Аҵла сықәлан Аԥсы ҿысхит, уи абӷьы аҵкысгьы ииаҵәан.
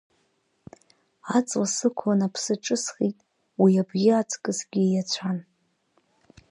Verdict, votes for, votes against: accepted, 9, 0